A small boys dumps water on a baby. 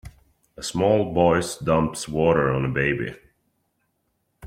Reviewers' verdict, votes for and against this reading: accepted, 2, 0